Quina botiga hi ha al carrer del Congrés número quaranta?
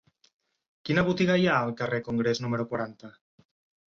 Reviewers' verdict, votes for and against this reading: rejected, 0, 4